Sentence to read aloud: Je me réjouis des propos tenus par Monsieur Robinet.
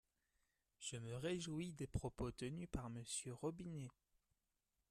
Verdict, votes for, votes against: rejected, 1, 2